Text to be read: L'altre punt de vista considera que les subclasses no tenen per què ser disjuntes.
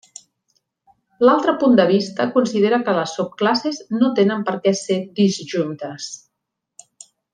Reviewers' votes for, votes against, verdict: 2, 0, accepted